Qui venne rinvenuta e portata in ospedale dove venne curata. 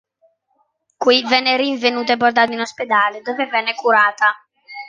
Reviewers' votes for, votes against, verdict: 3, 0, accepted